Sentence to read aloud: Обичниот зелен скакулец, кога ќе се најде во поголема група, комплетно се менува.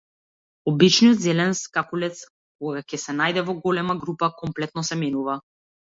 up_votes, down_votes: 0, 2